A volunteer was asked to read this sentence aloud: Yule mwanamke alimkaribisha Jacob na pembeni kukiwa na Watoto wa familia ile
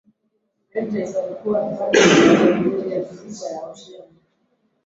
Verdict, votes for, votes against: rejected, 0, 3